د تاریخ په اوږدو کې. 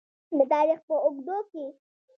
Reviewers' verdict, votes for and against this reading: rejected, 1, 2